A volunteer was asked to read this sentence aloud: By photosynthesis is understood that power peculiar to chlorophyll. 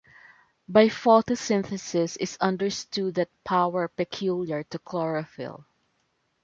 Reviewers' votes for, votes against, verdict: 1, 2, rejected